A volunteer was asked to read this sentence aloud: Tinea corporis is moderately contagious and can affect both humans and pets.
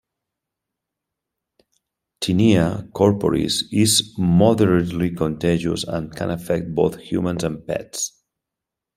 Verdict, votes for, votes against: accepted, 2, 0